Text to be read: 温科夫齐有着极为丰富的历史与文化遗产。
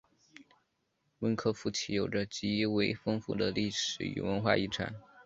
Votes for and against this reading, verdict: 2, 0, accepted